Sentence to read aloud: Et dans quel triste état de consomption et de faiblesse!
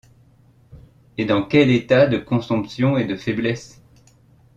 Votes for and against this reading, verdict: 1, 2, rejected